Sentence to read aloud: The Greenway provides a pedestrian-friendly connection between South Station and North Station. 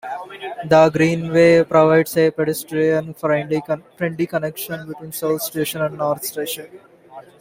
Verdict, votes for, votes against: accepted, 2, 1